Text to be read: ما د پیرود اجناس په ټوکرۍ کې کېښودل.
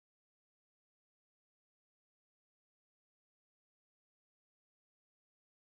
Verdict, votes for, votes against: rejected, 0, 2